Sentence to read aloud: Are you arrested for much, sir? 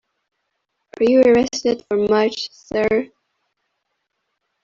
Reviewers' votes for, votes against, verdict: 1, 2, rejected